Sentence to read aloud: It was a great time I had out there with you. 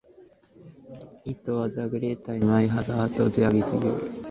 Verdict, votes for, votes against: rejected, 0, 2